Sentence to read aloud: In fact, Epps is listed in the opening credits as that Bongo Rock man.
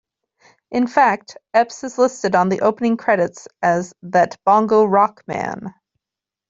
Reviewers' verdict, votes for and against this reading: rejected, 0, 2